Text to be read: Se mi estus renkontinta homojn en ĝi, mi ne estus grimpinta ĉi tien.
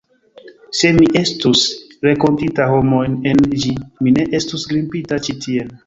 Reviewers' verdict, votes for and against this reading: rejected, 0, 2